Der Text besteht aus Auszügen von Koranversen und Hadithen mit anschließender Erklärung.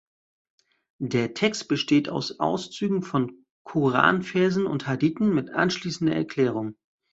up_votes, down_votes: 2, 0